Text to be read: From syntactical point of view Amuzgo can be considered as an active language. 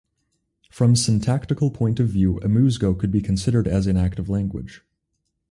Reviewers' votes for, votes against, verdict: 4, 2, accepted